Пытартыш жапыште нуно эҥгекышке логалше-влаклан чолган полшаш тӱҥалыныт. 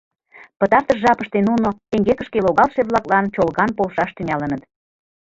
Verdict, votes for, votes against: accepted, 2, 1